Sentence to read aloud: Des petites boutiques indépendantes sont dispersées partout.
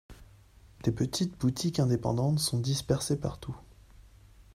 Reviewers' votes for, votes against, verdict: 2, 0, accepted